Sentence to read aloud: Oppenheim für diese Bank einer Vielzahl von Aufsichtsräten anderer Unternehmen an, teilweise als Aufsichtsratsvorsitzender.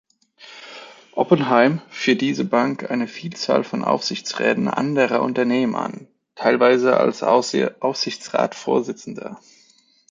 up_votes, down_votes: 0, 2